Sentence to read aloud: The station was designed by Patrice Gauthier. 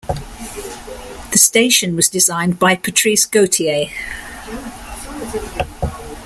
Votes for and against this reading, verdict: 2, 0, accepted